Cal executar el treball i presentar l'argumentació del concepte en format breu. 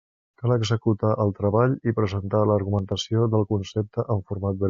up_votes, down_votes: 1, 2